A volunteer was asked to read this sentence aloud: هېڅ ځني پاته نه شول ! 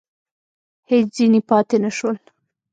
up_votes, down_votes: 1, 2